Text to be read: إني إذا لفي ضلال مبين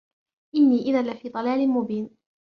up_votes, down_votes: 2, 1